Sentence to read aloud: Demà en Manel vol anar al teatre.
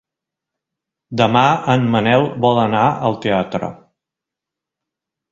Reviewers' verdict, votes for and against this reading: accepted, 2, 0